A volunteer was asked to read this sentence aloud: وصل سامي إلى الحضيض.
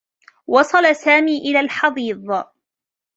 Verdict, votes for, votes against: accepted, 2, 1